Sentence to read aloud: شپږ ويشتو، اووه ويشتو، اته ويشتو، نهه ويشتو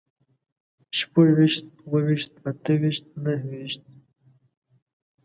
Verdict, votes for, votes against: rejected, 1, 2